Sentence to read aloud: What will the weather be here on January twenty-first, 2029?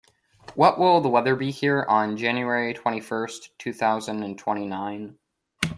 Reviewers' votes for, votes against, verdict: 0, 2, rejected